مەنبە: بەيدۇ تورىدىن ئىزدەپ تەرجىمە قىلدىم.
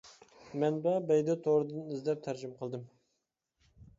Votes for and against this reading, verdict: 2, 0, accepted